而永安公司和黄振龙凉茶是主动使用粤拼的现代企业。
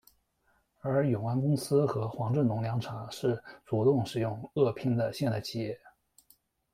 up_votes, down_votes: 0, 2